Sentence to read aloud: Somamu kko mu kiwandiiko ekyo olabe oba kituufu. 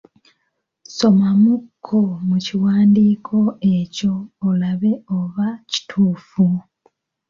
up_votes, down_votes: 2, 0